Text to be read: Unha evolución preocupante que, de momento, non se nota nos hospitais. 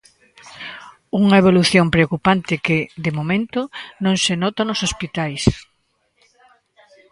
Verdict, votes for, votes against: rejected, 1, 2